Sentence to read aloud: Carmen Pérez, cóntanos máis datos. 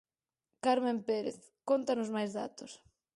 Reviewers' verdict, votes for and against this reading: accepted, 4, 0